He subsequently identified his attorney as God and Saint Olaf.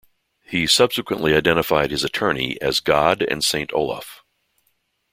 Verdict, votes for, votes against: accepted, 2, 0